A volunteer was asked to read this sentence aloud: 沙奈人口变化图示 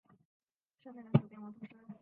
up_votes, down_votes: 3, 3